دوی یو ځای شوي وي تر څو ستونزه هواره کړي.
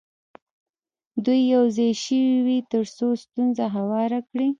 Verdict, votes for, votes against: rejected, 0, 2